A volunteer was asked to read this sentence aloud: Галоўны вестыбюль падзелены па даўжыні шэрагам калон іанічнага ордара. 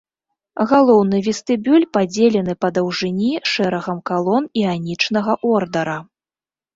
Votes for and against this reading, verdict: 2, 0, accepted